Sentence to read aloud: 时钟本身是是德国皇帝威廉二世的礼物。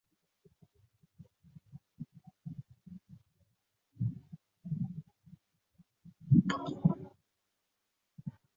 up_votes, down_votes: 0, 3